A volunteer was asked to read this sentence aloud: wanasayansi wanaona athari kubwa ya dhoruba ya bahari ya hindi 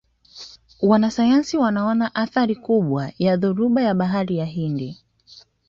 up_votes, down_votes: 2, 0